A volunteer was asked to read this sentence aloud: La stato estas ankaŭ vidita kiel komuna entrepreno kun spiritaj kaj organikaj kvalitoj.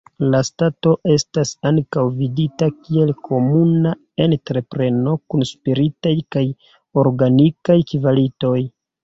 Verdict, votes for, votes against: accepted, 2, 1